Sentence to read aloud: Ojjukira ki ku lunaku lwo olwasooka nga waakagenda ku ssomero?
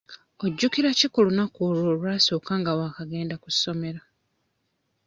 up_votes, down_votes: 0, 2